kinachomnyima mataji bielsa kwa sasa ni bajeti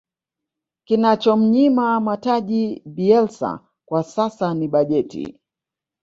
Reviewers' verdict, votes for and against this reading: rejected, 1, 2